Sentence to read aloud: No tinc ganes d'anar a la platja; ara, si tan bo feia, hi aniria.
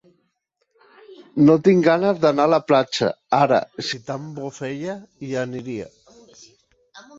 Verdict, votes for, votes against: accepted, 3, 2